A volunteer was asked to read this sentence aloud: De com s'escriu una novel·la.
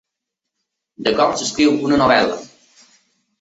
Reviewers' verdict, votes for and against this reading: accepted, 2, 0